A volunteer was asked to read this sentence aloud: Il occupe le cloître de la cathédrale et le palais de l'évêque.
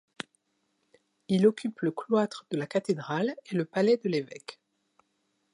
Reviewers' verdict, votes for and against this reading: accepted, 2, 0